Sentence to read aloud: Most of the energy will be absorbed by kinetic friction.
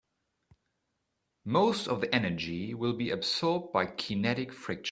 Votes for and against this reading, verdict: 1, 2, rejected